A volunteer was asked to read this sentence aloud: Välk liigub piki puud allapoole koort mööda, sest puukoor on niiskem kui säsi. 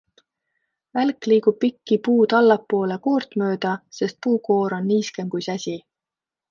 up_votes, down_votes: 2, 0